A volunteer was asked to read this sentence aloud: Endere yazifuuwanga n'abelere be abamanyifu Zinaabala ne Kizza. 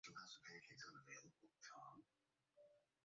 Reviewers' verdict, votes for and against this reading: rejected, 0, 2